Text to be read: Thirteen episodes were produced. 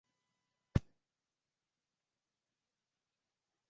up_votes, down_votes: 0, 2